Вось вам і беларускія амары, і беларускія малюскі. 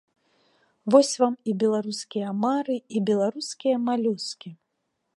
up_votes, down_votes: 2, 0